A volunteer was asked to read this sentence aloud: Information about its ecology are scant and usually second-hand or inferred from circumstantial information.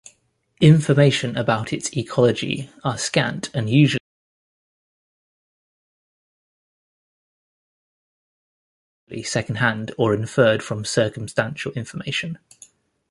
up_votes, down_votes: 1, 2